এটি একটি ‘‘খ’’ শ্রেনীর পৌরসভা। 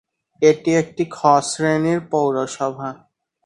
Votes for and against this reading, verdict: 0, 4, rejected